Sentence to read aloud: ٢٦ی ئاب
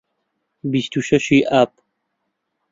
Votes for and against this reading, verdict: 0, 2, rejected